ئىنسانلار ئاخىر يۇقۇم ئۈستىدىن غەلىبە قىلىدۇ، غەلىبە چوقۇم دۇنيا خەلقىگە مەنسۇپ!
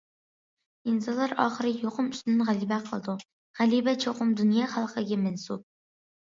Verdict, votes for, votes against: accepted, 2, 0